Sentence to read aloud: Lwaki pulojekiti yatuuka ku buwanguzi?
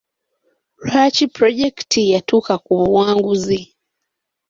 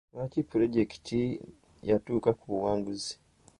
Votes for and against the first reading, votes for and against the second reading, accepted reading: 3, 0, 1, 2, first